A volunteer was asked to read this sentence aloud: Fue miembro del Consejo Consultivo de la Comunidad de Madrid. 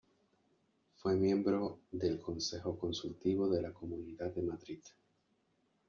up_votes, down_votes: 3, 0